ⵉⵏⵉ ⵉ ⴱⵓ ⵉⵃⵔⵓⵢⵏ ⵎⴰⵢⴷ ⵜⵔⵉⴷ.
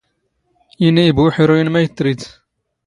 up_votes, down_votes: 2, 0